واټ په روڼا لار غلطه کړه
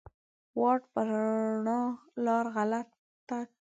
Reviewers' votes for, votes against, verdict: 0, 3, rejected